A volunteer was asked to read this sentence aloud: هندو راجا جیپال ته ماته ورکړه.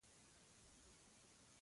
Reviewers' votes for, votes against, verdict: 1, 2, rejected